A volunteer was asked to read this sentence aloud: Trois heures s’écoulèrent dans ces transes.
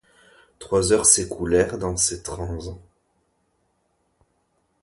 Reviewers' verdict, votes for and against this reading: rejected, 0, 2